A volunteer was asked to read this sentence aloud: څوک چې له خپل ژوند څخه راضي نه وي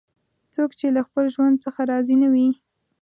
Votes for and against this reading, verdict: 2, 0, accepted